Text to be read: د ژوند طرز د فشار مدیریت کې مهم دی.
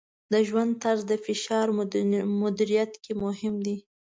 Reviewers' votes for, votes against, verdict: 0, 2, rejected